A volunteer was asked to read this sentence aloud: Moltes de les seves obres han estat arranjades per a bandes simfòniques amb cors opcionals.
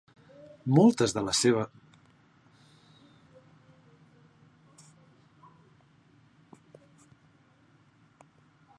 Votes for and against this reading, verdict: 0, 2, rejected